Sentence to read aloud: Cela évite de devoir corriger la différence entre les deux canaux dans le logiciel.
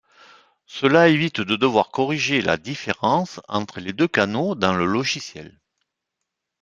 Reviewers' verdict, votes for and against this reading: accepted, 2, 0